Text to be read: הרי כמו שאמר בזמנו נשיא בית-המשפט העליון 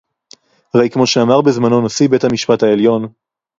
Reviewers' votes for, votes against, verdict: 2, 2, rejected